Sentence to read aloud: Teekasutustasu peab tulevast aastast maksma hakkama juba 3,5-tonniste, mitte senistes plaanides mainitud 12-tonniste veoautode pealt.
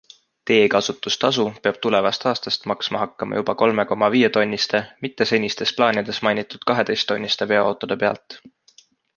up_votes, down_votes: 0, 2